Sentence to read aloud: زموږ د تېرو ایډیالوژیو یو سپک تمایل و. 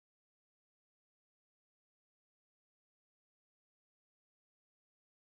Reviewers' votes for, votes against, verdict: 1, 2, rejected